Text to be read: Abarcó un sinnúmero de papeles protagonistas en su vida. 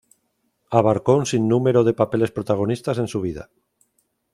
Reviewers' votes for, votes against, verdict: 2, 0, accepted